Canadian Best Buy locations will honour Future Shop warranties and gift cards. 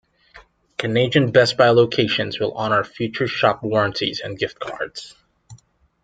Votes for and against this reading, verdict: 2, 0, accepted